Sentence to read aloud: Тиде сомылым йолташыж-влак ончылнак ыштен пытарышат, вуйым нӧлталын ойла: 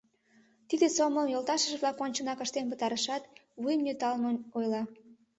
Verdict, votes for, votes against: accepted, 2, 1